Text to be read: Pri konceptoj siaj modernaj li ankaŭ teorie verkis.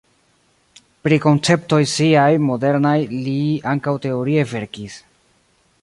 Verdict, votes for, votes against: accepted, 2, 1